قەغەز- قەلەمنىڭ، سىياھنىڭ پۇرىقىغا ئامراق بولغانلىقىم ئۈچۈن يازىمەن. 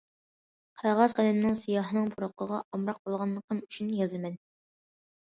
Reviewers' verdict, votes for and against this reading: accepted, 2, 0